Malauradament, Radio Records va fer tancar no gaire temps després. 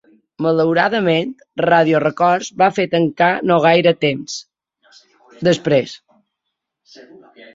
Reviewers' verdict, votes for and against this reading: rejected, 0, 2